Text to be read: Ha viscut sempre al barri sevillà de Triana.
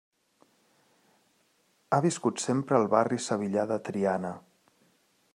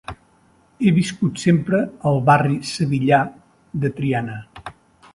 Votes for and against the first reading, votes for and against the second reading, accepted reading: 2, 0, 0, 2, first